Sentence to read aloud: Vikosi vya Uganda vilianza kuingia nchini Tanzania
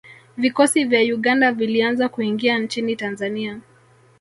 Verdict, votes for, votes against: rejected, 1, 2